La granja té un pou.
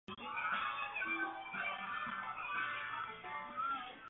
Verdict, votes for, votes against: rejected, 0, 2